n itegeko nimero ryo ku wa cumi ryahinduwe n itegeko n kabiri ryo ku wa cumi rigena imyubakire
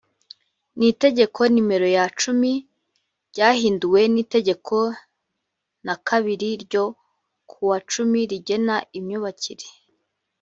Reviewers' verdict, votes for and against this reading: rejected, 1, 2